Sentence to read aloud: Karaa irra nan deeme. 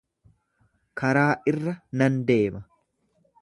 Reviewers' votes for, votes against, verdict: 1, 2, rejected